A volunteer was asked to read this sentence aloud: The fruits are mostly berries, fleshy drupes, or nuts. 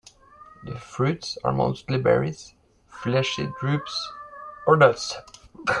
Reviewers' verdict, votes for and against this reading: accepted, 2, 0